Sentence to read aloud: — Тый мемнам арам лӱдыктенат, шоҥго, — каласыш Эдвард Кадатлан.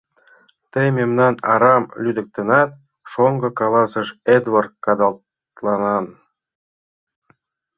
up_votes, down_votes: 0, 2